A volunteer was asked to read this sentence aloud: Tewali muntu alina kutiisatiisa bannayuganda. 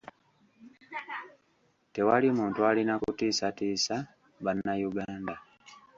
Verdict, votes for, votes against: accepted, 2, 0